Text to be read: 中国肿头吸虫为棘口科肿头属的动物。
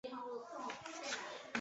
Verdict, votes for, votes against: rejected, 0, 3